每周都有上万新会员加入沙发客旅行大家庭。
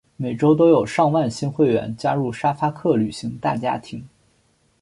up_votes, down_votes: 2, 0